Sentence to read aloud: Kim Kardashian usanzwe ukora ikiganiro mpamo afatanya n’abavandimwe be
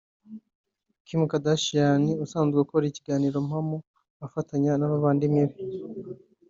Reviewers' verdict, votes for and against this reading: accepted, 2, 0